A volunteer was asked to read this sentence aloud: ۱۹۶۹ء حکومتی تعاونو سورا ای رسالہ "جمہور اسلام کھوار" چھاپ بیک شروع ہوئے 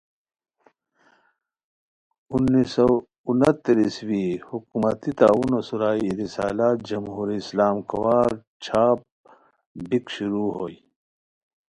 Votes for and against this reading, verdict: 0, 2, rejected